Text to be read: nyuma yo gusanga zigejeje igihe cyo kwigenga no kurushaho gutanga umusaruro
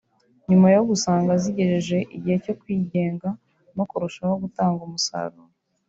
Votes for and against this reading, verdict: 1, 2, rejected